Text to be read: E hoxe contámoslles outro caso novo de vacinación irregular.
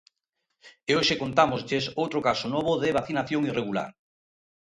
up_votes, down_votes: 2, 0